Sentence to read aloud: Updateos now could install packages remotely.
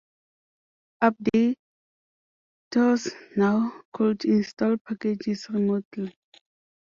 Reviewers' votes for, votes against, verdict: 0, 2, rejected